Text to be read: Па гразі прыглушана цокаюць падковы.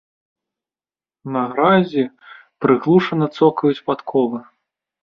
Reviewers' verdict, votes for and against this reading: rejected, 0, 2